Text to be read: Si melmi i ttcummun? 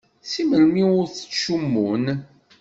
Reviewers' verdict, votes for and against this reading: rejected, 1, 2